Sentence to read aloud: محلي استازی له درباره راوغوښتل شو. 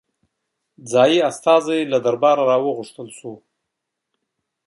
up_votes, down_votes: 2, 1